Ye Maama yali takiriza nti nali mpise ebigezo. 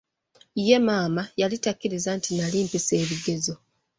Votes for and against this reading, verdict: 2, 1, accepted